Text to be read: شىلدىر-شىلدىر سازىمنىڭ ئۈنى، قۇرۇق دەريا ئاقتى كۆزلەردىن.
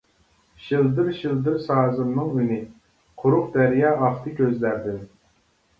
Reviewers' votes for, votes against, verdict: 2, 0, accepted